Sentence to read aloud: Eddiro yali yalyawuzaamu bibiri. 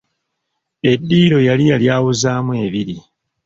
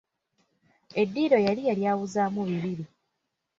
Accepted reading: second